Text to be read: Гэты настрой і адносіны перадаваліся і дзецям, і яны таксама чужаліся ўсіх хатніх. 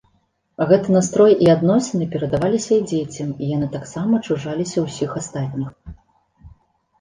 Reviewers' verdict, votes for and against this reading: rejected, 0, 3